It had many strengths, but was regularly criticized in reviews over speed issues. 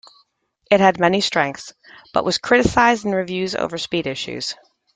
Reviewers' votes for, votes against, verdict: 1, 2, rejected